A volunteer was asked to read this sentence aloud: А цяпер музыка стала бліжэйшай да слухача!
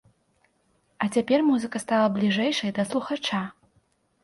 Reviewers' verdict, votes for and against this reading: accepted, 2, 0